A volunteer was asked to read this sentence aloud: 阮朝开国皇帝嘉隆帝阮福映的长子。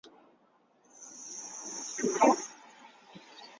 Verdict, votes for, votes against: rejected, 2, 3